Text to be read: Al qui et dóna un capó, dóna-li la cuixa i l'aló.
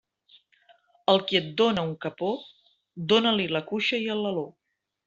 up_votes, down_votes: 1, 2